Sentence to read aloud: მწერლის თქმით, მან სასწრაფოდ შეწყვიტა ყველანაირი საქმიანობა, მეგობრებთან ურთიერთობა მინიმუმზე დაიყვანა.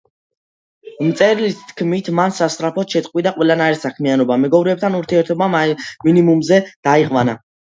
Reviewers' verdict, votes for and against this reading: accepted, 2, 1